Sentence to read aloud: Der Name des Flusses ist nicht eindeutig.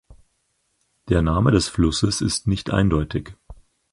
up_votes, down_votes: 4, 0